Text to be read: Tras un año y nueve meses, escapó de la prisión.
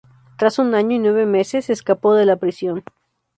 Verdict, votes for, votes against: accepted, 4, 0